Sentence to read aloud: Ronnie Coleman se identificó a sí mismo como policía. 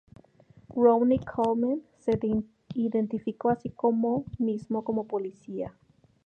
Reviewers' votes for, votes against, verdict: 0, 4, rejected